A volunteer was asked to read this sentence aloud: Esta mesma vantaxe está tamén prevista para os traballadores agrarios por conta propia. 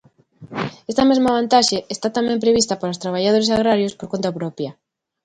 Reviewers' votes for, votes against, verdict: 2, 0, accepted